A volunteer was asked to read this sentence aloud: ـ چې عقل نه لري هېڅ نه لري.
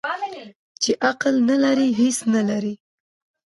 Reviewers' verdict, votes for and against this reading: rejected, 1, 2